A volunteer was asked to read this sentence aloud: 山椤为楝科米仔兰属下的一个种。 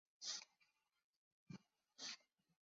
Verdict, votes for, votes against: rejected, 0, 3